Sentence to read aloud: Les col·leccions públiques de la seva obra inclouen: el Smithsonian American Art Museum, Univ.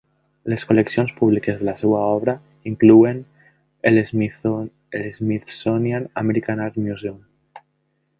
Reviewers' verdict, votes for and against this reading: rejected, 0, 2